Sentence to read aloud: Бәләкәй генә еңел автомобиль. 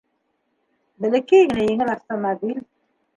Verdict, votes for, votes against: accepted, 2, 0